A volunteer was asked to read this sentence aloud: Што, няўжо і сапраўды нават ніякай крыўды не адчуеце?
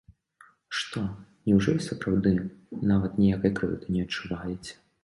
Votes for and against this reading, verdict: 1, 2, rejected